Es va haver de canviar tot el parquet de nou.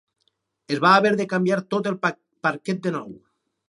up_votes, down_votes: 0, 4